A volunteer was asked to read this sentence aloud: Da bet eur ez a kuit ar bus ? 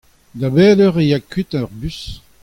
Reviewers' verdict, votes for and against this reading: accepted, 2, 0